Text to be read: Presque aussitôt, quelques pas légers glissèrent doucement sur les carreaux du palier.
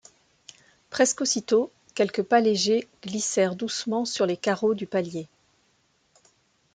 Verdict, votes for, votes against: accepted, 2, 0